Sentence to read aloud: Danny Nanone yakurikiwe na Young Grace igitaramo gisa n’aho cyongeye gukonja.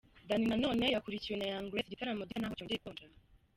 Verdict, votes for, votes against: rejected, 1, 2